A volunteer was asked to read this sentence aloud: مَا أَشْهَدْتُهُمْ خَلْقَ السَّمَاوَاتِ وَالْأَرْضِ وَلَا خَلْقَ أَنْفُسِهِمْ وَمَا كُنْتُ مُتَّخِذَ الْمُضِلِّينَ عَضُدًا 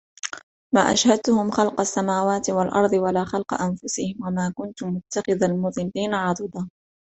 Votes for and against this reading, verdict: 0, 2, rejected